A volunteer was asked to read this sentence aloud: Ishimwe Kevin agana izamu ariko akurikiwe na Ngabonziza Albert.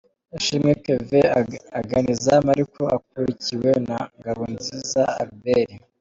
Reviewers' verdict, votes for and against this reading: rejected, 0, 2